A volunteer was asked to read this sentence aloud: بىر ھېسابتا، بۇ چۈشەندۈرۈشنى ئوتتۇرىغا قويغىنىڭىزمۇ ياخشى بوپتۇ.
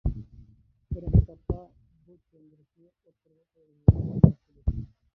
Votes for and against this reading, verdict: 0, 2, rejected